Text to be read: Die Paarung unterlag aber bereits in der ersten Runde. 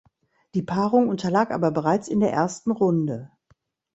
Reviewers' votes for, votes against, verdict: 2, 0, accepted